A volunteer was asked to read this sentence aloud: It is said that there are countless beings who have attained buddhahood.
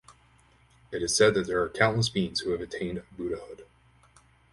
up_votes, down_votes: 4, 0